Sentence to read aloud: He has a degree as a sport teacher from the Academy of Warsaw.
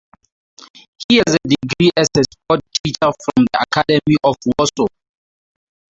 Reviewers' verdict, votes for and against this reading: rejected, 0, 2